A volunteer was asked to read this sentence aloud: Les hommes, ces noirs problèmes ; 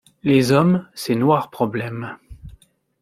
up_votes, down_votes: 2, 0